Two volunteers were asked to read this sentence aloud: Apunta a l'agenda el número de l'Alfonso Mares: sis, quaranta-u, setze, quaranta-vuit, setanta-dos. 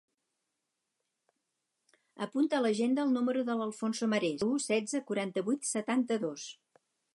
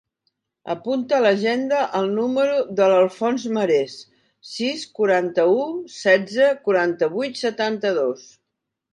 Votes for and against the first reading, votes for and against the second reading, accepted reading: 2, 4, 2, 0, second